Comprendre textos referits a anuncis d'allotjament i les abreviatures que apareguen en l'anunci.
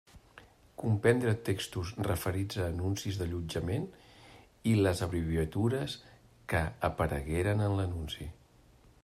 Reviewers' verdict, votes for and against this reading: rejected, 0, 2